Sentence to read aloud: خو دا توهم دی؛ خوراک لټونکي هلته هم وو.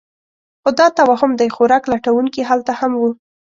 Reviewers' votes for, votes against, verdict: 2, 1, accepted